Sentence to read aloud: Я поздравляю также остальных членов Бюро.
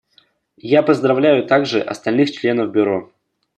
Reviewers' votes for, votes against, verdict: 2, 0, accepted